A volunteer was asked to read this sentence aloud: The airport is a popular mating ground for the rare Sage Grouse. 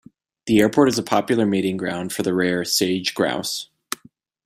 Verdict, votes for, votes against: accepted, 2, 0